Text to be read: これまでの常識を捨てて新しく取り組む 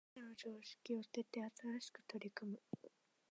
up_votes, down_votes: 0, 2